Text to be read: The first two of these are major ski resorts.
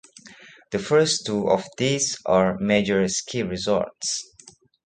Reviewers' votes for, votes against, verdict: 2, 0, accepted